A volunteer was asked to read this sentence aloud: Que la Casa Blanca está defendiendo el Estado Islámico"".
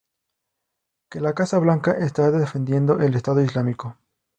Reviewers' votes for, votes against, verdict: 2, 0, accepted